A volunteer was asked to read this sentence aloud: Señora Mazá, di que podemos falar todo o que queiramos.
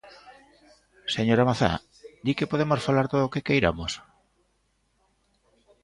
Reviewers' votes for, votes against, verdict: 1, 2, rejected